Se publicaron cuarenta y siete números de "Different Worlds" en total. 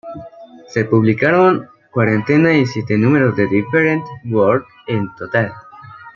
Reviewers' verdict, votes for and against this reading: rejected, 1, 2